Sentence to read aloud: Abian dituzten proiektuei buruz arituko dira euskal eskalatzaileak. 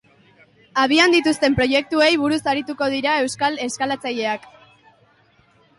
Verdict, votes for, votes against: accepted, 3, 0